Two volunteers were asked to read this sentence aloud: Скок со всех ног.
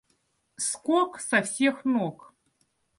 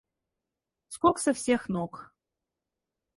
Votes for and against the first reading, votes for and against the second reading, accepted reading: 2, 0, 2, 2, first